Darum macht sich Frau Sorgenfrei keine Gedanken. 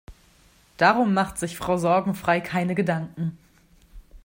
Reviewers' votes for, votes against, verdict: 2, 0, accepted